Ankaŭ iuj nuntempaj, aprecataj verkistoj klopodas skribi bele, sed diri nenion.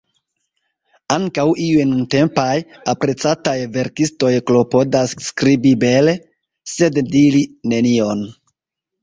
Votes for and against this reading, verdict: 2, 1, accepted